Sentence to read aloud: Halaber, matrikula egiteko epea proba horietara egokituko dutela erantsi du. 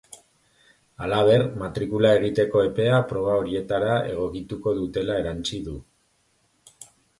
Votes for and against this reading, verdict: 2, 0, accepted